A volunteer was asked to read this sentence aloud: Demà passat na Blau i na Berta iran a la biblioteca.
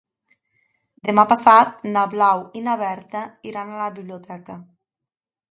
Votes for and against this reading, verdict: 2, 0, accepted